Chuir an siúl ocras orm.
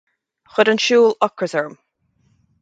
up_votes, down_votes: 4, 0